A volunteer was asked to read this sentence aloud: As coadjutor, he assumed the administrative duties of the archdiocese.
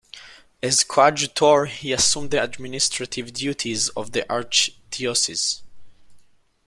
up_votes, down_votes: 0, 2